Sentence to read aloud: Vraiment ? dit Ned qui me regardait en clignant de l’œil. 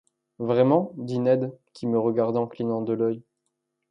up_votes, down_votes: 0, 2